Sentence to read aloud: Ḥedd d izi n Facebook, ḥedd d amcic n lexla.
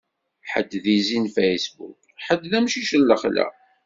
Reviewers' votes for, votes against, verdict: 2, 0, accepted